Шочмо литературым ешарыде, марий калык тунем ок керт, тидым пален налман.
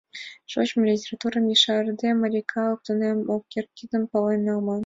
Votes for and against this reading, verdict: 2, 0, accepted